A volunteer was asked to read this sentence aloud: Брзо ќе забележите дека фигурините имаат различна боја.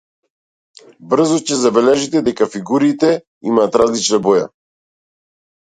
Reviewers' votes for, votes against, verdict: 1, 2, rejected